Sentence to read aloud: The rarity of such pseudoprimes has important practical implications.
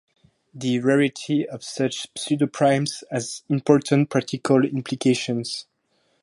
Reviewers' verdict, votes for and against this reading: accepted, 4, 2